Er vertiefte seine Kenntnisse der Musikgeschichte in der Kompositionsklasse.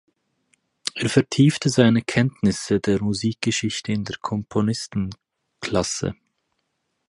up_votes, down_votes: 0, 4